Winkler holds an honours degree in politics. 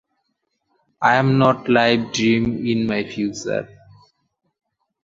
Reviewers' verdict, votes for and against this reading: rejected, 0, 2